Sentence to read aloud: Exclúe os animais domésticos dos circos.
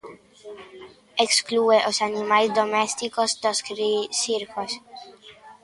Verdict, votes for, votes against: rejected, 0, 2